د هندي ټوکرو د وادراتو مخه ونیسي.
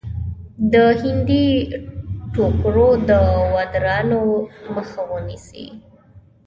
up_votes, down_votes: 1, 2